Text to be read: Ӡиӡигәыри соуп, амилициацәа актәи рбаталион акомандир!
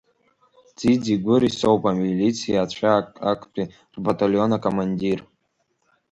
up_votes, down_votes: 3, 0